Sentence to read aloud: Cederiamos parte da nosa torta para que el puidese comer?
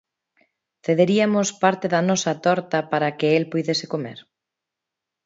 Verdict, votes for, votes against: rejected, 1, 2